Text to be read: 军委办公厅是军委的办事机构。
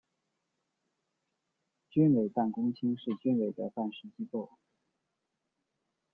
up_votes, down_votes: 2, 0